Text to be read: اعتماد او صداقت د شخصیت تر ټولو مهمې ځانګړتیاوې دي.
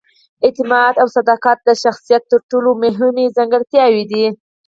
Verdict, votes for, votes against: accepted, 4, 0